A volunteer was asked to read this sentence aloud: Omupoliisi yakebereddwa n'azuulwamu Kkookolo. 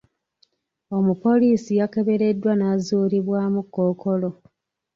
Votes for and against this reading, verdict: 0, 2, rejected